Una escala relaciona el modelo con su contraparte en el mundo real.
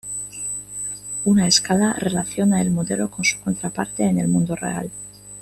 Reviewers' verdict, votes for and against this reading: accepted, 2, 0